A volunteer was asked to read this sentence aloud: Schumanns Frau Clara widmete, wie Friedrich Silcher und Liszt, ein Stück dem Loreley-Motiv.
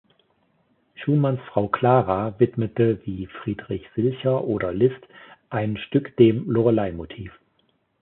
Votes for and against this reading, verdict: 0, 2, rejected